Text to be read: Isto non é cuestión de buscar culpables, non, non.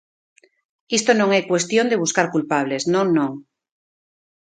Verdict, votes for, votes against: accepted, 2, 0